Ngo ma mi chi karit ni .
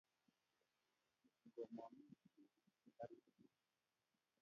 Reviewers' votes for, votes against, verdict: 0, 2, rejected